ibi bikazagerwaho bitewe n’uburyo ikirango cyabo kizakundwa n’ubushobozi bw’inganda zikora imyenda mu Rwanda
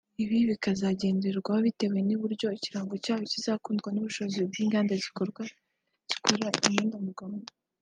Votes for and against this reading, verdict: 0, 2, rejected